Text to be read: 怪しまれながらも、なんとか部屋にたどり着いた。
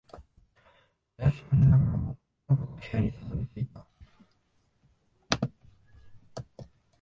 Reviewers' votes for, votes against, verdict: 0, 4, rejected